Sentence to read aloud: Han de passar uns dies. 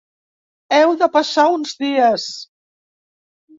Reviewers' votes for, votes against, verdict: 3, 5, rejected